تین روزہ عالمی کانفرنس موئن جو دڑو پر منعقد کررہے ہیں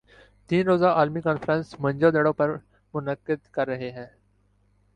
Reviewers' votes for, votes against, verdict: 3, 0, accepted